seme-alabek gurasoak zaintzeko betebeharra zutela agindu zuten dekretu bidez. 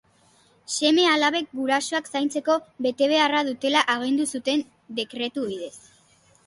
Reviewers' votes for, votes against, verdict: 1, 2, rejected